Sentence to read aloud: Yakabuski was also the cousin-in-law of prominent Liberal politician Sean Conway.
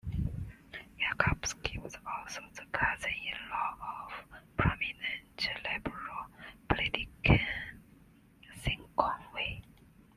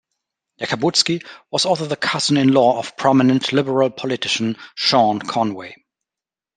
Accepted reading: second